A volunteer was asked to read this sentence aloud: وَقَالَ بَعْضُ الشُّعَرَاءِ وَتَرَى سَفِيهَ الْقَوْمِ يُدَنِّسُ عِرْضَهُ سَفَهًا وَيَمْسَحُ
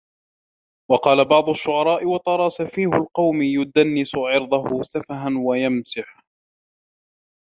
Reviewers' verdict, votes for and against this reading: rejected, 1, 2